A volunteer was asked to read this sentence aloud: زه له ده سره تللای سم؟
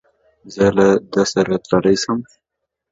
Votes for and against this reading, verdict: 2, 0, accepted